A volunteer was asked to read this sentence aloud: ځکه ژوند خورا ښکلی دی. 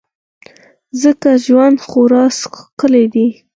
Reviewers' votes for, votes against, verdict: 2, 4, rejected